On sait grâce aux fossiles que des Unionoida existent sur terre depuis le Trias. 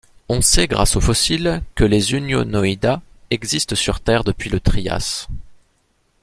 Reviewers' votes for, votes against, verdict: 1, 2, rejected